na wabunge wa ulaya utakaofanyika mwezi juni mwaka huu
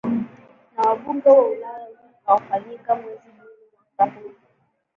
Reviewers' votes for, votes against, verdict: 3, 1, accepted